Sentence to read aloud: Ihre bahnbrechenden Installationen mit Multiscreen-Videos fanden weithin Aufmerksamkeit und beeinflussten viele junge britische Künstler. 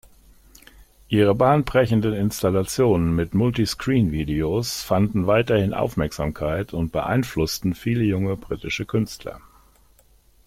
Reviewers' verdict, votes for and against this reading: rejected, 1, 2